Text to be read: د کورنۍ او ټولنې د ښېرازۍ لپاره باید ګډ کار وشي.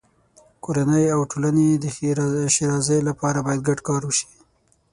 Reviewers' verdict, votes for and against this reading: rejected, 0, 6